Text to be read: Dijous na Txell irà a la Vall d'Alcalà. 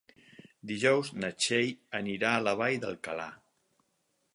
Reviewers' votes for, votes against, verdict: 4, 6, rejected